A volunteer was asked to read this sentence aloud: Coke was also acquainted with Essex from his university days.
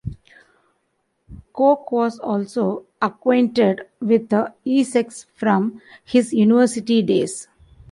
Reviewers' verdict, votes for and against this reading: rejected, 1, 3